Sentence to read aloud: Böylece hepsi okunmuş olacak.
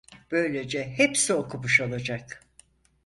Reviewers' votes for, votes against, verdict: 2, 4, rejected